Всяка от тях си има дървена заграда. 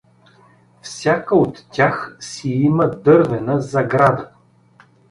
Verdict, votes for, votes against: accepted, 2, 0